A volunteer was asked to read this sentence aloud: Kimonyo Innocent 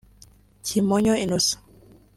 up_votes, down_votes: 2, 0